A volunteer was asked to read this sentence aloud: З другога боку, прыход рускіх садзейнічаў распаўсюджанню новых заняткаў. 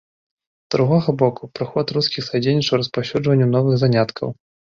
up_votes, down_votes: 2, 0